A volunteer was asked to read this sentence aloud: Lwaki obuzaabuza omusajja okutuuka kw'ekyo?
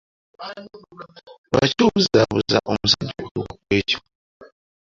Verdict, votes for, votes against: rejected, 1, 2